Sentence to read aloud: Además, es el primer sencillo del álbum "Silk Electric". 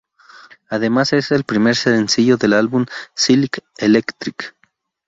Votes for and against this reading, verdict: 0, 2, rejected